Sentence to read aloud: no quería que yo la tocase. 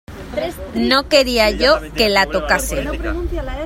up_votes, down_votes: 1, 2